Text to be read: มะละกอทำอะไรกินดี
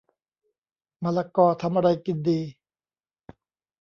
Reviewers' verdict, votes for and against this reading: accepted, 2, 0